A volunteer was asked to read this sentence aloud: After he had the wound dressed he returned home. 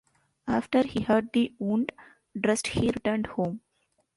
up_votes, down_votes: 2, 0